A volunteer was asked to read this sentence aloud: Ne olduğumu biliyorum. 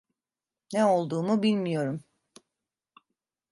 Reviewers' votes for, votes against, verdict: 0, 2, rejected